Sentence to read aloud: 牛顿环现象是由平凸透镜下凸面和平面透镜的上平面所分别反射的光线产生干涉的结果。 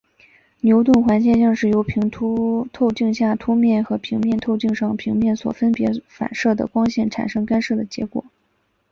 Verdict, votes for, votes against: accepted, 3, 0